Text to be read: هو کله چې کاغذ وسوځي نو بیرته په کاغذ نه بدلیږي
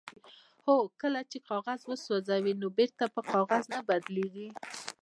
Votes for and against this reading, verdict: 1, 2, rejected